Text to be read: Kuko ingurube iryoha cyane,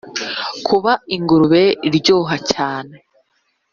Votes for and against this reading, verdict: 2, 3, rejected